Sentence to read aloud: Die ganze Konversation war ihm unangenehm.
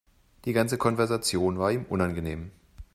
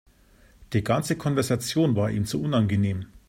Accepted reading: first